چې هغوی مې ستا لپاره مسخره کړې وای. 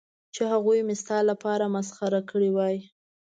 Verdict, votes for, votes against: accepted, 3, 0